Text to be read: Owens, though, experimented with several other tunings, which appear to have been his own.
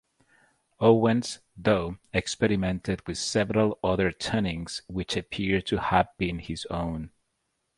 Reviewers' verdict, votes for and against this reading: rejected, 2, 2